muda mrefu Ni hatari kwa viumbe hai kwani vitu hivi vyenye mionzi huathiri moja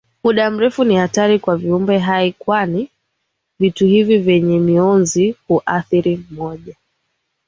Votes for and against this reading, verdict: 4, 0, accepted